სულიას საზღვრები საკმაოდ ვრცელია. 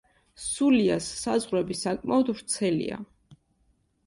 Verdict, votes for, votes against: accepted, 2, 0